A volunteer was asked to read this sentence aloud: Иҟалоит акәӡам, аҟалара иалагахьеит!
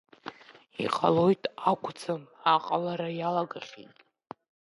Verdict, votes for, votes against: rejected, 1, 2